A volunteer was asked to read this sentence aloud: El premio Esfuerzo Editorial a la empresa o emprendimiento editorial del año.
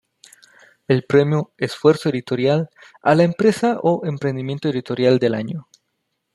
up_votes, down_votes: 2, 1